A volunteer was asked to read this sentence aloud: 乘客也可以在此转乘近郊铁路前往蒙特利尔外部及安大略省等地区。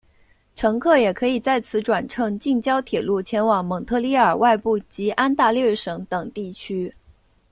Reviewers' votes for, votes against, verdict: 0, 2, rejected